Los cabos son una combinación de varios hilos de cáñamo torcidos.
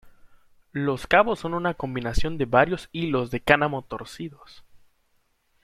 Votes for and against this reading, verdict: 0, 2, rejected